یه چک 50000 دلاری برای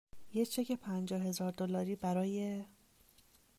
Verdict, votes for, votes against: rejected, 0, 2